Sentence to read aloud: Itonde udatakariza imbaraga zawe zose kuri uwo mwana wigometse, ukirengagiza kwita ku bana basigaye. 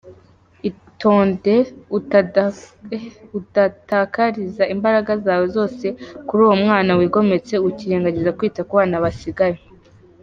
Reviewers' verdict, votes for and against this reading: rejected, 0, 2